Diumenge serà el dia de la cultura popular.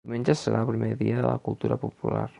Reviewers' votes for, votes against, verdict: 2, 0, accepted